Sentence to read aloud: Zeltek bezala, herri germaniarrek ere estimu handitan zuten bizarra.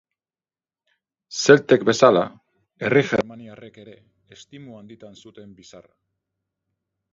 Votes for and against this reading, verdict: 2, 4, rejected